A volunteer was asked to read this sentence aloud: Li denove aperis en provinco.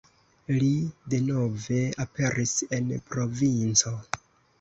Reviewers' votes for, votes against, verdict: 2, 0, accepted